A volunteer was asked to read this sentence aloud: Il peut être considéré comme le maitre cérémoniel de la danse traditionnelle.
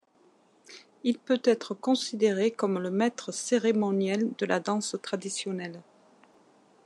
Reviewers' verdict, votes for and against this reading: accepted, 2, 0